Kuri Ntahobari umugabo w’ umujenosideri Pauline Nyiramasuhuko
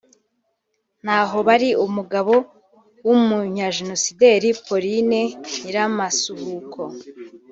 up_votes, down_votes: 0, 2